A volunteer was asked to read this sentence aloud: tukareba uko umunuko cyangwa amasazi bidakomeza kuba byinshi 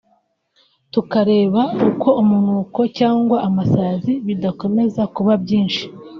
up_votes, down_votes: 0, 2